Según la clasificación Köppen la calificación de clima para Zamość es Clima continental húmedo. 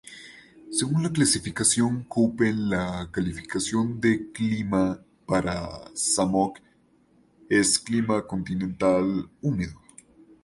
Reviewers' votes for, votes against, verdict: 0, 2, rejected